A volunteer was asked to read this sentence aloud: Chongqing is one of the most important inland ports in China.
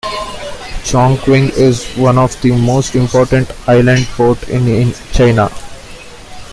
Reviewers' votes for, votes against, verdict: 0, 2, rejected